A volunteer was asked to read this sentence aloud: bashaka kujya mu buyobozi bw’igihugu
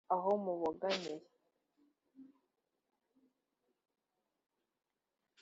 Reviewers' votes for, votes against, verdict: 2, 0, accepted